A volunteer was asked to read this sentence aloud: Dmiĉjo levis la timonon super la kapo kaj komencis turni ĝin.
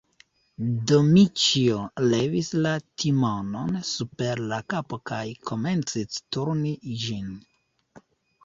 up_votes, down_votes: 0, 2